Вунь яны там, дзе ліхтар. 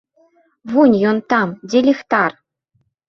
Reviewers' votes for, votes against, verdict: 0, 2, rejected